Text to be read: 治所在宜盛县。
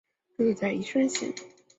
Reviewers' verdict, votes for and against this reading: accepted, 4, 2